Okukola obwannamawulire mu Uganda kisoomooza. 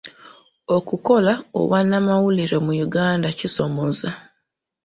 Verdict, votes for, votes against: rejected, 0, 2